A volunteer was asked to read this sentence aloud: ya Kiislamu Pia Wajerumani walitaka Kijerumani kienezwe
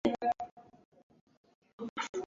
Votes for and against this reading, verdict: 0, 3, rejected